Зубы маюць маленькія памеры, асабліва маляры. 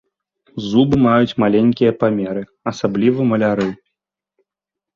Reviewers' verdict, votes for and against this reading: rejected, 0, 2